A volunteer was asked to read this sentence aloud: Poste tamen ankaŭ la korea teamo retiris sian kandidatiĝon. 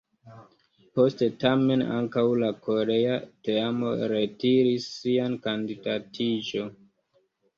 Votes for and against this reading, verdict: 1, 2, rejected